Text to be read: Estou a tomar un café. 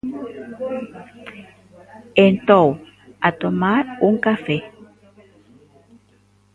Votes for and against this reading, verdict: 0, 2, rejected